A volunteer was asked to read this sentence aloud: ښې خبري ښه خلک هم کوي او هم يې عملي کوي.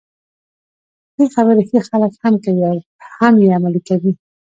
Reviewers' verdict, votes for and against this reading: accepted, 2, 0